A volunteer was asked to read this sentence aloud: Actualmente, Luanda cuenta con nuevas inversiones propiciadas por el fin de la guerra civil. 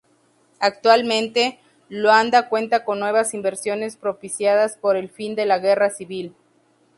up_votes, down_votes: 2, 0